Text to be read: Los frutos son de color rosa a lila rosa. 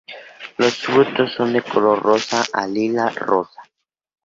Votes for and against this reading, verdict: 0, 2, rejected